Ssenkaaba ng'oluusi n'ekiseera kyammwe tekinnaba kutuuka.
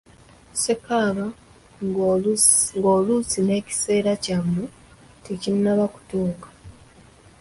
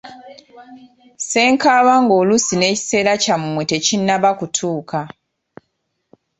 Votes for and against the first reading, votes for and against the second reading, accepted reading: 0, 2, 2, 0, second